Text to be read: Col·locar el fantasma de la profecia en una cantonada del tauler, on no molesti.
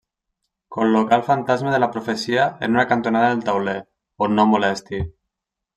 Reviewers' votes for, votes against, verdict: 2, 0, accepted